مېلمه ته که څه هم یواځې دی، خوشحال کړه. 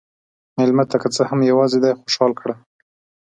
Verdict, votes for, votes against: accepted, 2, 0